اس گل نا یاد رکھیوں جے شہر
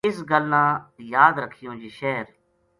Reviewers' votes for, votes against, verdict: 2, 0, accepted